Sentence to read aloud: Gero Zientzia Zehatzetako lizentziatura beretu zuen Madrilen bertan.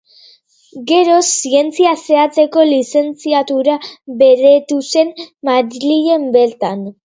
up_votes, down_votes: 0, 2